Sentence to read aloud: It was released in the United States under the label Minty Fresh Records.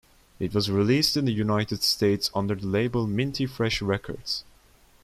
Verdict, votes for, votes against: accepted, 2, 0